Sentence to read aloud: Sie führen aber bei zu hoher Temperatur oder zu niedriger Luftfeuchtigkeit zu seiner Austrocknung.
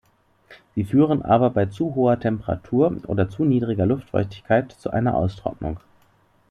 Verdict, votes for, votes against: rejected, 0, 2